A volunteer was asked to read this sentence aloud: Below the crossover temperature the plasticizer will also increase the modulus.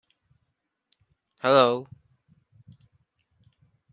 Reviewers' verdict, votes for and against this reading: rejected, 0, 2